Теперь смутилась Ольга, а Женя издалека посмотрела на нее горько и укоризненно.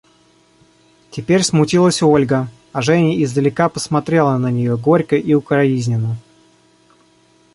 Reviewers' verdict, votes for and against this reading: rejected, 0, 2